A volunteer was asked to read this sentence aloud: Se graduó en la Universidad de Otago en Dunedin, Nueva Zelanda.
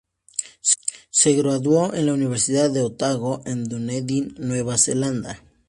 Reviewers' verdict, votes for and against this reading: accepted, 2, 0